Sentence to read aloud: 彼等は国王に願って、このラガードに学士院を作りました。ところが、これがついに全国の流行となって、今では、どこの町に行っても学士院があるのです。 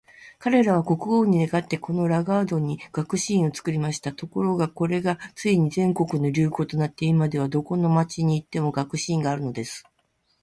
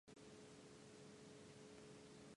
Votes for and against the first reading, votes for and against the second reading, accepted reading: 2, 0, 0, 2, first